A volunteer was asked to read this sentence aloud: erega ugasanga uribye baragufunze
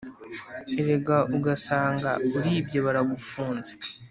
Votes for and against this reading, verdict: 3, 0, accepted